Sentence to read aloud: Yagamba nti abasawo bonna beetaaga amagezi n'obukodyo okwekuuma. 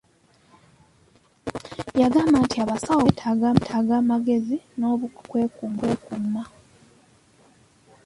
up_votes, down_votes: 0, 2